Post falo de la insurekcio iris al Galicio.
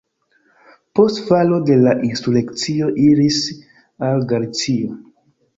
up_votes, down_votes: 1, 2